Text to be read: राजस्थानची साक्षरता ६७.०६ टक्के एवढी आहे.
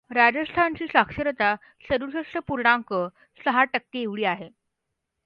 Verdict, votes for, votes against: rejected, 0, 2